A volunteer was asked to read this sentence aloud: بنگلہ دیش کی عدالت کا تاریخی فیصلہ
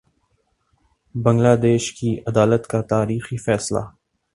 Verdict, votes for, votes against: accepted, 2, 0